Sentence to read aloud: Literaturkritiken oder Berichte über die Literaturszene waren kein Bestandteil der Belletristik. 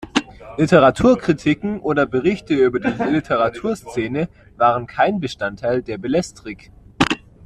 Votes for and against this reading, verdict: 0, 2, rejected